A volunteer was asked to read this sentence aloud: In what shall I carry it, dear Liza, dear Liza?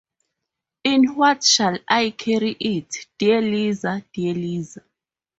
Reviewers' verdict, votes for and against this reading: rejected, 2, 2